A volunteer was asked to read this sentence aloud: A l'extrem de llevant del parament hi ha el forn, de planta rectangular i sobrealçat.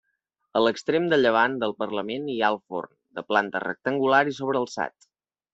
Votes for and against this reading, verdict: 1, 2, rejected